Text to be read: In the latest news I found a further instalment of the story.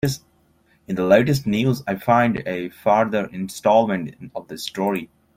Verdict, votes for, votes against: rejected, 1, 2